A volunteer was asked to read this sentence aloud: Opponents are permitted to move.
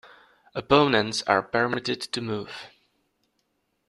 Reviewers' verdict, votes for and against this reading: rejected, 0, 2